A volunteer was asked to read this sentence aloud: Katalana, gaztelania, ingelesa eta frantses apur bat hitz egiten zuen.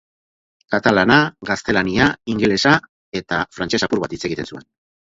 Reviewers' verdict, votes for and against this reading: rejected, 4, 4